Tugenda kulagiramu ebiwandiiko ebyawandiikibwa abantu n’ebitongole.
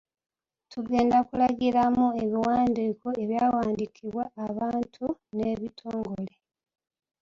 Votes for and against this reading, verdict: 2, 1, accepted